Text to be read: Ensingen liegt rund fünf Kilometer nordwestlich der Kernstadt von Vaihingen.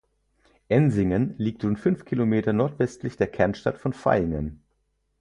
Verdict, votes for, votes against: accepted, 4, 2